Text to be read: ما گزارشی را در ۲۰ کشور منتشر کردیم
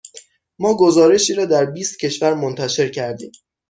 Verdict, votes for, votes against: rejected, 0, 2